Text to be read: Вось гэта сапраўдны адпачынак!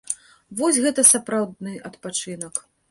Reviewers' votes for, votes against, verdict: 2, 0, accepted